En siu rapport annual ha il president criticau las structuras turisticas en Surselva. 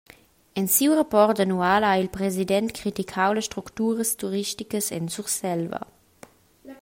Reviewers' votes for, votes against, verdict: 2, 0, accepted